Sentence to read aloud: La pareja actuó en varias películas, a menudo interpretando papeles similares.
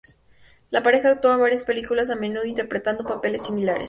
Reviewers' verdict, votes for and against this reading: accepted, 2, 0